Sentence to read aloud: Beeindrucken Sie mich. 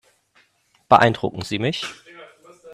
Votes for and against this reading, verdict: 2, 0, accepted